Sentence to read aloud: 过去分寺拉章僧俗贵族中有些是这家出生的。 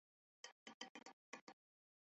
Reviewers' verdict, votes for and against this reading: rejected, 0, 4